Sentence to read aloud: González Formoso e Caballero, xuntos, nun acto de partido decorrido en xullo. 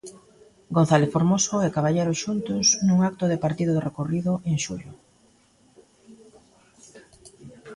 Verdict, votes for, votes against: accepted, 2, 0